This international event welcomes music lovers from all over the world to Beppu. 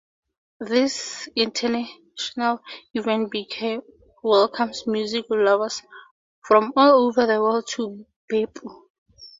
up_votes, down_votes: 0, 2